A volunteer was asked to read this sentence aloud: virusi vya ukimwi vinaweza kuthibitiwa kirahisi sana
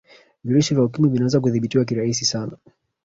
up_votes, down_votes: 2, 0